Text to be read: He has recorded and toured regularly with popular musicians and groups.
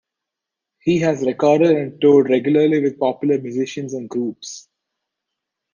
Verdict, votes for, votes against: accepted, 2, 0